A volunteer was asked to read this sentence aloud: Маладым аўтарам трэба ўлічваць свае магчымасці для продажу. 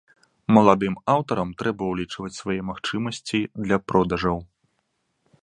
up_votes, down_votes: 0, 2